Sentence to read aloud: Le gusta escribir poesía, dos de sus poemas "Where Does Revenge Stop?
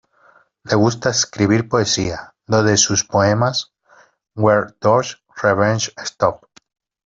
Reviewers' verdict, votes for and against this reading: accepted, 2, 1